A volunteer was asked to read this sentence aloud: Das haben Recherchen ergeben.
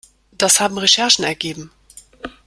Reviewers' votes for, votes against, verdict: 2, 0, accepted